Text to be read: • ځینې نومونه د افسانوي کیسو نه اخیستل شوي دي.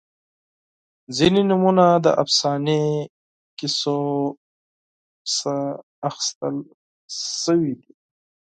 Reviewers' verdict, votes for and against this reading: rejected, 2, 8